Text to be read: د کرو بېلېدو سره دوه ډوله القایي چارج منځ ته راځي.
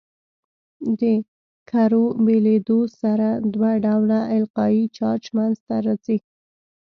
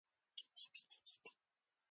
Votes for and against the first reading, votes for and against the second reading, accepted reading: 2, 0, 1, 2, first